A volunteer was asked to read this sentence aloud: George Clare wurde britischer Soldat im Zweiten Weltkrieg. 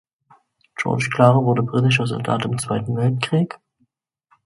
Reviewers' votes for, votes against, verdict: 1, 2, rejected